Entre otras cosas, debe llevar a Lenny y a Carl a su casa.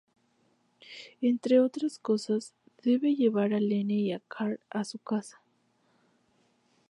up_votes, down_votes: 2, 0